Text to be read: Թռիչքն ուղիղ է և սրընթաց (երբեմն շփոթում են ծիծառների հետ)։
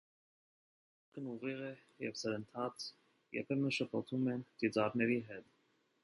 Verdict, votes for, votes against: rejected, 0, 2